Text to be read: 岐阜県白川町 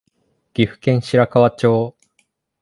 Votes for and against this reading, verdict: 2, 0, accepted